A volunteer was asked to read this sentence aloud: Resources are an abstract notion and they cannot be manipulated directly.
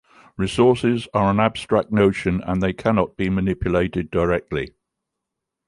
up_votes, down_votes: 2, 0